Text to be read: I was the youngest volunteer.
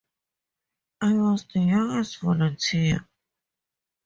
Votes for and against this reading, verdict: 2, 0, accepted